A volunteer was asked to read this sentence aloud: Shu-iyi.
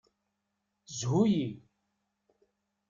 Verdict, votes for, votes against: accepted, 2, 0